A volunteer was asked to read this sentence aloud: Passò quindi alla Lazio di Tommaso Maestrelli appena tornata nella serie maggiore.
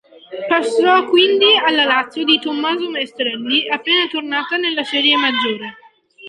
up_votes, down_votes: 2, 1